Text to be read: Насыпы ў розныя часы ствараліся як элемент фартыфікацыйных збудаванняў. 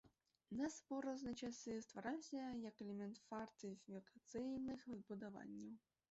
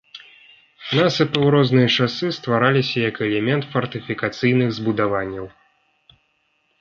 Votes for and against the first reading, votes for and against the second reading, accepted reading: 1, 2, 2, 0, second